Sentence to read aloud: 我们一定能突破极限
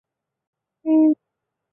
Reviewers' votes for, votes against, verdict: 0, 2, rejected